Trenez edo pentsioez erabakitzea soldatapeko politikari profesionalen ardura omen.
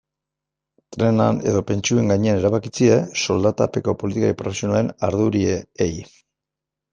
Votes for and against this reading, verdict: 0, 2, rejected